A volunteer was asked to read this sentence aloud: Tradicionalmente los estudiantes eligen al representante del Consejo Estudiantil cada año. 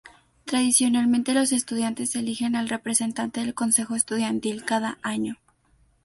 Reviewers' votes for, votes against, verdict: 2, 0, accepted